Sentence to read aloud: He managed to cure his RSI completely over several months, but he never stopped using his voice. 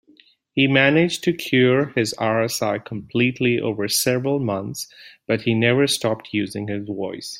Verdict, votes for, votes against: accepted, 2, 0